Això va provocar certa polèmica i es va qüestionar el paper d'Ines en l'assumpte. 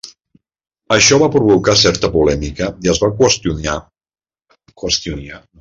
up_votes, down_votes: 0, 2